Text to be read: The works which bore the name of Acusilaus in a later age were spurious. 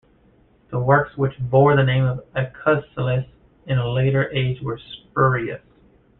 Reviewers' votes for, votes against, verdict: 0, 2, rejected